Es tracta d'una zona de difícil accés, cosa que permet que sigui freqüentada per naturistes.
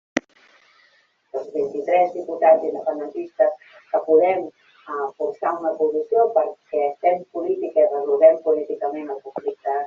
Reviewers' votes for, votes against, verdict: 0, 2, rejected